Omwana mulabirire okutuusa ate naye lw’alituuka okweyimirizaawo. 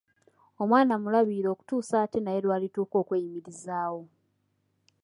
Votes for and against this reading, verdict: 2, 0, accepted